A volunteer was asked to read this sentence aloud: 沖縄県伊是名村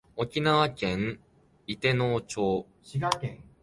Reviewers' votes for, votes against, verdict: 0, 2, rejected